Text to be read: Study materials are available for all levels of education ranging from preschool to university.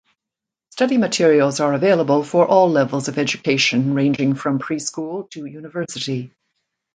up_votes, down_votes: 2, 0